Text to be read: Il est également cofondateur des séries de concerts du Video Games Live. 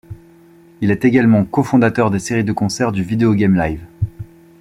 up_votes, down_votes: 0, 2